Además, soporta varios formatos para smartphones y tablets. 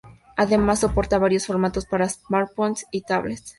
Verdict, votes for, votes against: accepted, 2, 0